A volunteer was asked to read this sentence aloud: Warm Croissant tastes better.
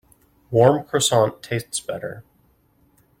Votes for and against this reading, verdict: 2, 0, accepted